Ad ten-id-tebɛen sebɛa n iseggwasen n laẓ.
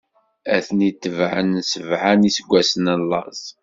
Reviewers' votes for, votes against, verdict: 3, 1, accepted